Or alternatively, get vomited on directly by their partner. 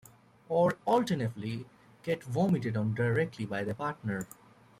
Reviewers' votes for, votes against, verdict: 1, 2, rejected